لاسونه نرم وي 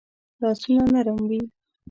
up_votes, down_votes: 2, 0